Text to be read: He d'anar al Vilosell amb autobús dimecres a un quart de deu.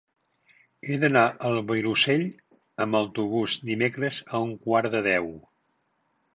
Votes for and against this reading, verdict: 2, 0, accepted